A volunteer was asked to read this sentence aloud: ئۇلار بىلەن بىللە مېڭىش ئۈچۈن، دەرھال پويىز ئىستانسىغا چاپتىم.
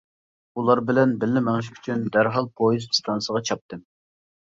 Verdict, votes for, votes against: accepted, 2, 0